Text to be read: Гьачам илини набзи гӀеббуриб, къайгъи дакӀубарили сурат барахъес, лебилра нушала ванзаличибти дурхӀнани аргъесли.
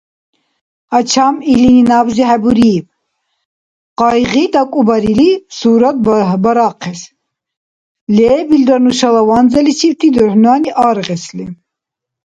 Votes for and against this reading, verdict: 1, 2, rejected